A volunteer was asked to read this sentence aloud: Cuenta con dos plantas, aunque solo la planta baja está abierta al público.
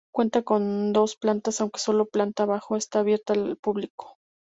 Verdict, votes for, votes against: rejected, 0, 2